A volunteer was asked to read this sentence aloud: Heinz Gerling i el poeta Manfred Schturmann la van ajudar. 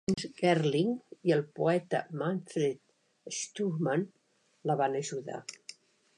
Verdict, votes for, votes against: rejected, 0, 2